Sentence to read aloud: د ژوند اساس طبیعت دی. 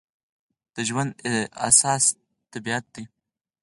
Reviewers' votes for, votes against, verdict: 2, 4, rejected